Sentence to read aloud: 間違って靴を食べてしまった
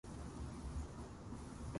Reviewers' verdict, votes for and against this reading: rejected, 0, 2